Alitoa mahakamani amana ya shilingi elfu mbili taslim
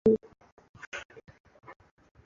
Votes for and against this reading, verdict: 0, 2, rejected